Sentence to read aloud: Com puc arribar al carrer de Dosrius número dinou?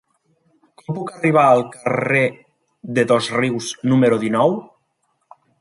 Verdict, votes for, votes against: rejected, 0, 2